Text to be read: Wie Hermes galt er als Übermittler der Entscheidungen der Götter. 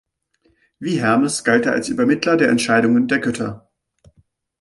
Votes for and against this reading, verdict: 3, 0, accepted